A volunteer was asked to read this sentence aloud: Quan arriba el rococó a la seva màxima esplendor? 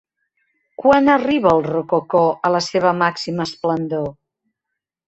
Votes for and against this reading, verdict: 3, 1, accepted